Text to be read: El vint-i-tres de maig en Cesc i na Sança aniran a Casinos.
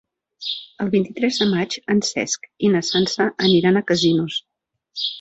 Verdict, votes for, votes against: rejected, 0, 2